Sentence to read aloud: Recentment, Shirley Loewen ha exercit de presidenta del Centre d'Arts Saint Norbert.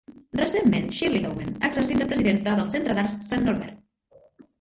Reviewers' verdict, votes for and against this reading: rejected, 0, 2